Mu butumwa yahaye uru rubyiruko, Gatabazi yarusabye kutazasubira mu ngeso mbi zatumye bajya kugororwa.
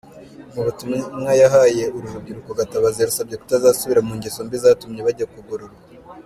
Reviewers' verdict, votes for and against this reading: accepted, 2, 1